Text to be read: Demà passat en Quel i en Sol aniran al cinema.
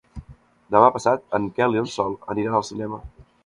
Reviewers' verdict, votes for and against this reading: rejected, 1, 2